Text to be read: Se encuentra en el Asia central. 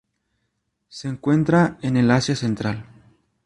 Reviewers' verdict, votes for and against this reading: rejected, 2, 2